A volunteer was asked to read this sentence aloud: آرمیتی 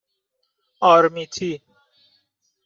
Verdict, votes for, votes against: accepted, 2, 0